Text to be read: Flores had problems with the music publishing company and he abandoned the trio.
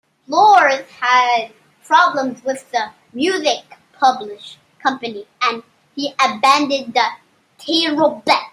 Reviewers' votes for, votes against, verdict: 0, 2, rejected